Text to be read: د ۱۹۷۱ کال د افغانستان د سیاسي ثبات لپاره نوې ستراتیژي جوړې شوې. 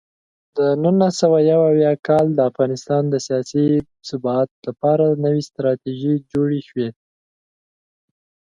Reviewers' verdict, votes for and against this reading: rejected, 0, 2